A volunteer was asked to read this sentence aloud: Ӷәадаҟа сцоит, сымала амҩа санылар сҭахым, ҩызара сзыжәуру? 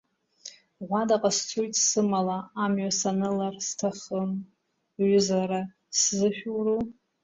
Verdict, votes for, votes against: rejected, 1, 2